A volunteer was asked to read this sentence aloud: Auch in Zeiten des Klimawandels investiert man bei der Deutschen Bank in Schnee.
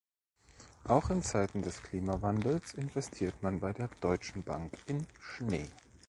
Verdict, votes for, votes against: accepted, 2, 0